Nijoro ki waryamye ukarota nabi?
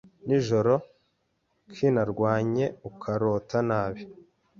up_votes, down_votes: 1, 2